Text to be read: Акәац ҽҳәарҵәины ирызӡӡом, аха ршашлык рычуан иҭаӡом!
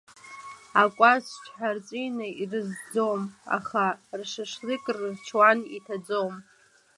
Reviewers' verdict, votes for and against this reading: accepted, 2, 0